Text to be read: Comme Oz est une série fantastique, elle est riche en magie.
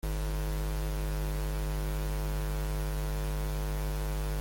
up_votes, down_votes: 0, 2